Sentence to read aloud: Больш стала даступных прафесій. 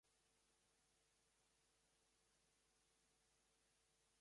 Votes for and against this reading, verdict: 0, 2, rejected